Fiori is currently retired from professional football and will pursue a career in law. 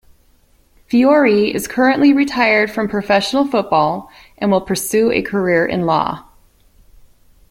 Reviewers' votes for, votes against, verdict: 2, 0, accepted